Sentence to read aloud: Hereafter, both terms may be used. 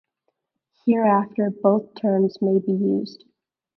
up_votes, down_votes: 2, 0